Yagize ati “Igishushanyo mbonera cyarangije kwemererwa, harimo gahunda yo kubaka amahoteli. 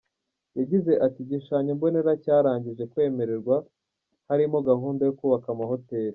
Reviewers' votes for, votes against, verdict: 2, 0, accepted